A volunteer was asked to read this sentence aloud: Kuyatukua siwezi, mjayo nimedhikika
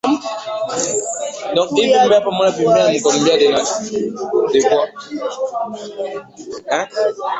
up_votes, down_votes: 0, 3